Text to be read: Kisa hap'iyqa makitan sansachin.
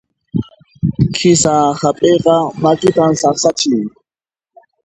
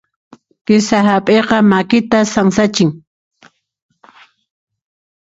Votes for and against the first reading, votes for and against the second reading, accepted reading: 0, 2, 2, 0, second